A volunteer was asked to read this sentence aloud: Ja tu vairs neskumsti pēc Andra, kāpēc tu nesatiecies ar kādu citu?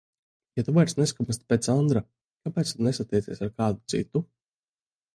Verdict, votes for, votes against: rejected, 0, 2